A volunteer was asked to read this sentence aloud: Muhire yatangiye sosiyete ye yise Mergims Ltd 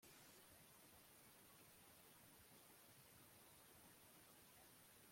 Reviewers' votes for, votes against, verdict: 0, 2, rejected